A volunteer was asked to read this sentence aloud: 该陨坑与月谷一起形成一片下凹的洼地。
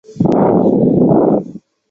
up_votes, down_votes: 0, 2